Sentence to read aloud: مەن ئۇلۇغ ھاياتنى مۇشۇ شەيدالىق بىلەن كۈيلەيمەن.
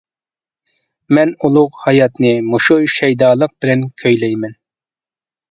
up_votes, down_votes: 2, 0